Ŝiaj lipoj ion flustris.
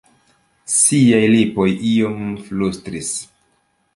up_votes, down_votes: 2, 0